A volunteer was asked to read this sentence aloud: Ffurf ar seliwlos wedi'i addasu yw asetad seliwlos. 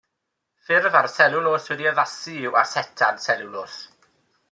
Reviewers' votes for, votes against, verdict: 2, 0, accepted